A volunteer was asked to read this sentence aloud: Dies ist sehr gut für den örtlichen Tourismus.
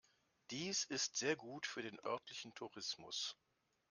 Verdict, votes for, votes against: rejected, 1, 2